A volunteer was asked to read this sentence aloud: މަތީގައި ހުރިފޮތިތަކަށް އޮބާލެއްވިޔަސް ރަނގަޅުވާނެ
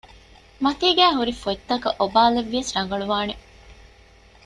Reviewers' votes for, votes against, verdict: 1, 2, rejected